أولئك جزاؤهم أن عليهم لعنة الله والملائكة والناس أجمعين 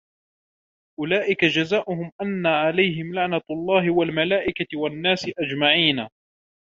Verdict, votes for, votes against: rejected, 1, 2